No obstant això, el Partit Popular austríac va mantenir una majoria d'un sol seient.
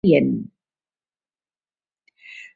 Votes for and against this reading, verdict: 1, 2, rejected